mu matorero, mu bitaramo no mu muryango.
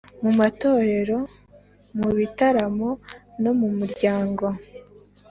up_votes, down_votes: 2, 0